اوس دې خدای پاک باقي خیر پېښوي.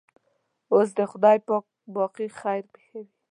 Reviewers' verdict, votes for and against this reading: accepted, 2, 0